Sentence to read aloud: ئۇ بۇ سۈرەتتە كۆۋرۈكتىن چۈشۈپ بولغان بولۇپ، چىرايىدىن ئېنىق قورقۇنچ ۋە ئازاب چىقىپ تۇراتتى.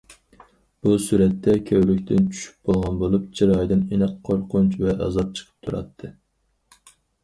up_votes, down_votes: 0, 4